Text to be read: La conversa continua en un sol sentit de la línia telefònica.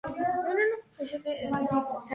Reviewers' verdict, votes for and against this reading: rejected, 0, 2